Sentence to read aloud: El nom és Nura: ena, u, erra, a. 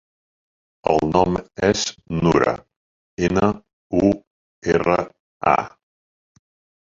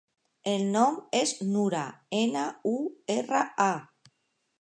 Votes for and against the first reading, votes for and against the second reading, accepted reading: 1, 2, 2, 0, second